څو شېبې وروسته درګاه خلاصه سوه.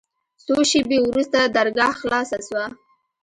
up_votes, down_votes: 0, 2